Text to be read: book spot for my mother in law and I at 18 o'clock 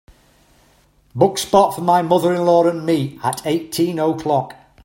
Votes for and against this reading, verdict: 0, 2, rejected